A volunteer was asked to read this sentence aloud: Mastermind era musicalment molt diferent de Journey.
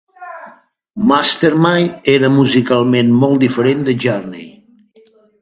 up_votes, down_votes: 2, 0